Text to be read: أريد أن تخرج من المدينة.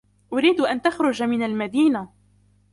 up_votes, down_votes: 1, 2